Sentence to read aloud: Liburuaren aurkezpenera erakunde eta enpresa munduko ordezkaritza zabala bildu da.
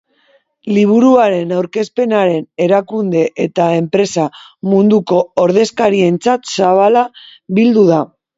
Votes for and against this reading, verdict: 0, 2, rejected